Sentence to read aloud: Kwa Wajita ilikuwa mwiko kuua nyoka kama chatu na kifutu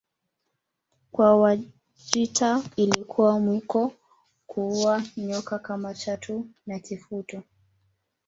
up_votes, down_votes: 1, 2